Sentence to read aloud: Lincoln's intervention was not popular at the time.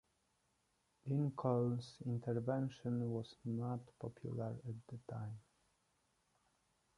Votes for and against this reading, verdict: 0, 2, rejected